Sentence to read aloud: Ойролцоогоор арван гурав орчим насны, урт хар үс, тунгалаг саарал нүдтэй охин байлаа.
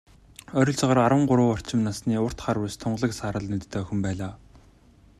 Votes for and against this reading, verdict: 2, 1, accepted